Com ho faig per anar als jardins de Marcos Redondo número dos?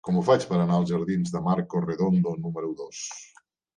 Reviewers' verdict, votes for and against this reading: rejected, 1, 2